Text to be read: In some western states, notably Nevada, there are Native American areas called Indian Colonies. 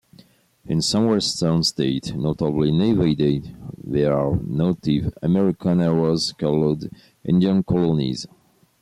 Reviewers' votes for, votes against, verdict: 0, 2, rejected